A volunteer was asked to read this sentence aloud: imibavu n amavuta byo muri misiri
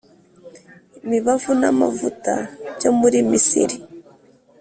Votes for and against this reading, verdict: 3, 0, accepted